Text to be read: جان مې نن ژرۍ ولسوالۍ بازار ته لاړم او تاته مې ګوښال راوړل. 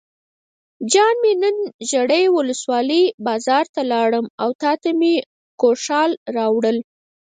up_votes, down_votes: 2, 4